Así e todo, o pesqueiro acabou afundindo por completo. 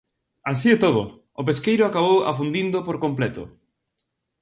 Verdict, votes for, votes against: accepted, 4, 0